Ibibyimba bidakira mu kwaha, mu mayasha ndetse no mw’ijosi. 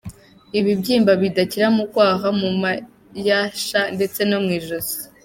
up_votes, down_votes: 2, 1